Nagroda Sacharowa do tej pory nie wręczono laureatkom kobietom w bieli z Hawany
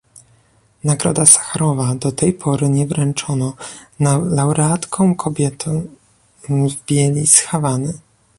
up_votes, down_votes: 0, 2